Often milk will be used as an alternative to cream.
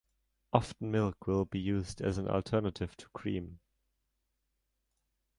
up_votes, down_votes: 2, 0